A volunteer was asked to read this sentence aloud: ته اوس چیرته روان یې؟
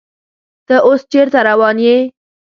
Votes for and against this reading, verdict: 2, 0, accepted